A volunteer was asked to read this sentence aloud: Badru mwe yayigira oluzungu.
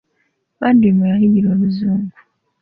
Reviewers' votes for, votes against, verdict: 2, 0, accepted